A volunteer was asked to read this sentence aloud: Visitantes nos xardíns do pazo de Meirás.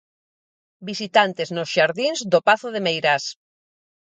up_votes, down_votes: 4, 0